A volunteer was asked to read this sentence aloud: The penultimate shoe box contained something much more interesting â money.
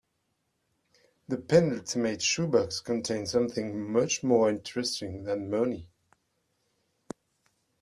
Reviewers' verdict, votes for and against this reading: rejected, 0, 2